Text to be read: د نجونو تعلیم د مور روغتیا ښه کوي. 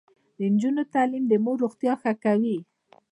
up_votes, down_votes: 1, 2